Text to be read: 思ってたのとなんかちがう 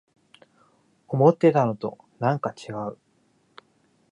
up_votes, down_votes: 2, 0